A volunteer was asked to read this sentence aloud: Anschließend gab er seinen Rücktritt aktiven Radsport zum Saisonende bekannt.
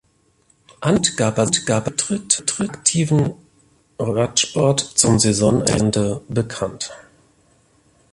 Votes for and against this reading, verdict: 0, 2, rejected